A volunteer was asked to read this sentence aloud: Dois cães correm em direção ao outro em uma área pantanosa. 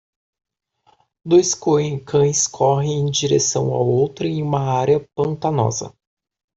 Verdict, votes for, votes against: rejected, 0, 2